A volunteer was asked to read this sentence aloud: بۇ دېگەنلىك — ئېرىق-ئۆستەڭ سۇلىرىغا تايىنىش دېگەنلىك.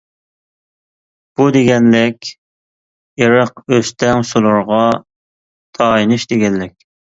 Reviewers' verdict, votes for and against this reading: rejected, 1, 2